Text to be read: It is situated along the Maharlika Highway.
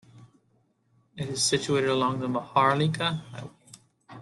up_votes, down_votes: 0, 2